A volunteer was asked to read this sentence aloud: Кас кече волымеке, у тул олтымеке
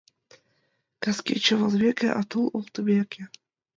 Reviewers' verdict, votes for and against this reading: rejected, 1, 2